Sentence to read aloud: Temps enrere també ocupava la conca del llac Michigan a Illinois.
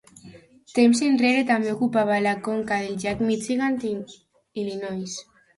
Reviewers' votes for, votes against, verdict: 1, 2, rejected